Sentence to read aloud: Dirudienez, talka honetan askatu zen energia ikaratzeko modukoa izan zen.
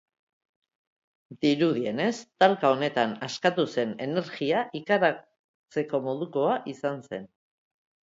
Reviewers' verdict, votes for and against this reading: accepted, 2, 0